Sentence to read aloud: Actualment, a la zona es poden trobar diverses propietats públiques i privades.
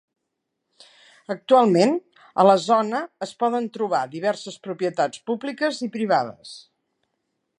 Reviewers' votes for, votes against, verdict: 3, 0, accepted